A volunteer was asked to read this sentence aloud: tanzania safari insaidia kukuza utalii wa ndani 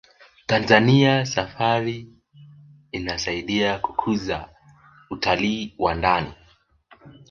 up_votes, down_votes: 1, 2